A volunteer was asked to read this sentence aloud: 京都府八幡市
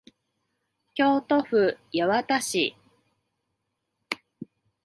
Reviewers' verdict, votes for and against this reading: accepted, 2, 0